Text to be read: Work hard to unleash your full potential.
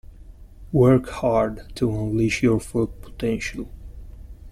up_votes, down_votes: 2, 0